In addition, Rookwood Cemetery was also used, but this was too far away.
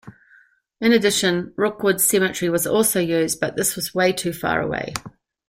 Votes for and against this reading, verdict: 0, 2, rejected